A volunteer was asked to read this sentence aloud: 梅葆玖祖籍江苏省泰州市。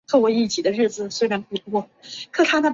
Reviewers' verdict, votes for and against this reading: rejected, 0, 2